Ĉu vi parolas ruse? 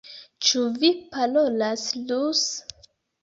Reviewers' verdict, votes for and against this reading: accepted, 2, 0